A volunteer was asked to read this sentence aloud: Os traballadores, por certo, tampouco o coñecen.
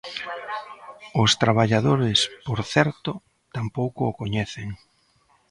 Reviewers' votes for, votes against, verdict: 1, 2, rejected